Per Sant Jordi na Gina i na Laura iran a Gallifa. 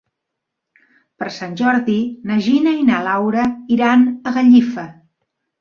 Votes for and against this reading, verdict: 5, 0, accepted